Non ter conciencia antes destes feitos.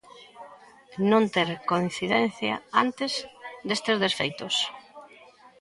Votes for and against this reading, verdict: 0, 2, rejected